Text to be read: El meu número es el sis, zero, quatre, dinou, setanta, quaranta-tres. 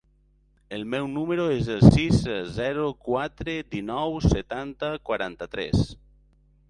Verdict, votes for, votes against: rejected, 0, 2